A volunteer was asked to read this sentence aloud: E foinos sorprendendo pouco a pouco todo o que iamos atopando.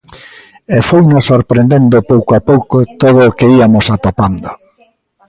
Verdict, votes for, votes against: rejected, 0, 2